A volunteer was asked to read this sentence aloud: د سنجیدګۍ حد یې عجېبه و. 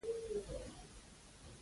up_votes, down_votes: 0, 2